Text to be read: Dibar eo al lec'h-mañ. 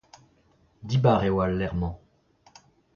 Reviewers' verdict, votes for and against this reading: accepted, 2, 0